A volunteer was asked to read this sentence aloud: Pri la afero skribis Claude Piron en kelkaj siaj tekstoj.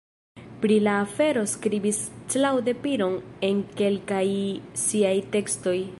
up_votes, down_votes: 2, 0